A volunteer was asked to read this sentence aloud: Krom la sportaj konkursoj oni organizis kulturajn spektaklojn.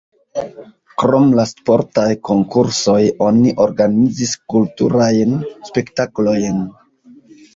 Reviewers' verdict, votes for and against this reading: rejected, 1, 2